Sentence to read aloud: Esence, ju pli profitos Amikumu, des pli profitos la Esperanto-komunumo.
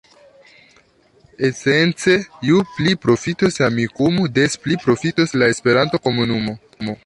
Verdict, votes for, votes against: rejected, 0, 2